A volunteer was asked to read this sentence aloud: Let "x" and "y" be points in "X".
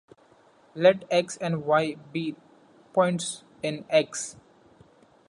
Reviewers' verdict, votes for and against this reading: accepted, 2, 0